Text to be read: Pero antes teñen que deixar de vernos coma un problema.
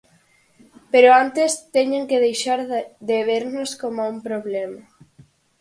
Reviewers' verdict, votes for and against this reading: accepted, 4, 2